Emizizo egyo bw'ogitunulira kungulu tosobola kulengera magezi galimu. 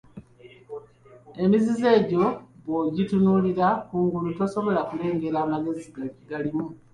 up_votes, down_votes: 2, 0